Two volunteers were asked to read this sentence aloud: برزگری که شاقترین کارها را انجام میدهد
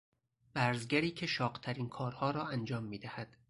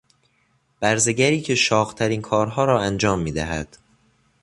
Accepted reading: second